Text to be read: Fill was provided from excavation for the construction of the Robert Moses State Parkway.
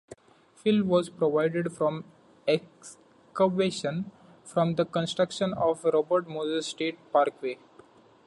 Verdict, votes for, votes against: rejected, 1, 2